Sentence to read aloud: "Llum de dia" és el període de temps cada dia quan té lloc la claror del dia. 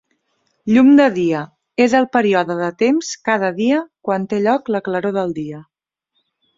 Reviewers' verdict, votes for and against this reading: rejected, 1, 2